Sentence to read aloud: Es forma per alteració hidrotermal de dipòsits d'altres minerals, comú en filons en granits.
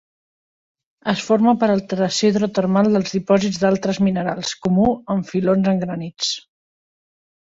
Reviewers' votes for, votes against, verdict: 1, 2, rejected